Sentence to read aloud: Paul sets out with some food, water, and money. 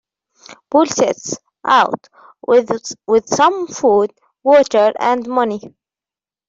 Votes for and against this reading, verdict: 0, 2, rejected